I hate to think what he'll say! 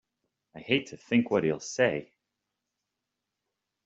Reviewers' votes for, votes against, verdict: 4, 0, accepted